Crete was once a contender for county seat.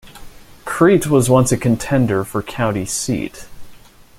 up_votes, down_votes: 2, 0